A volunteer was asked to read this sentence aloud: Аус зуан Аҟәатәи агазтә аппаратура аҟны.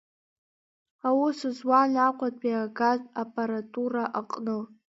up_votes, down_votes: 0, 2